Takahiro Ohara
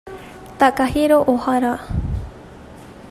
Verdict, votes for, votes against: accepted, 2, 0